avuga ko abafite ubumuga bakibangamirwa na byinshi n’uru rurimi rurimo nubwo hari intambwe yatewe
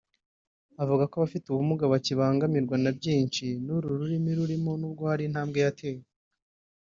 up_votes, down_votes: 0, 2